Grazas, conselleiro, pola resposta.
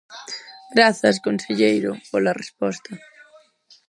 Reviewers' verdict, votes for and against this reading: rejected, 0, 4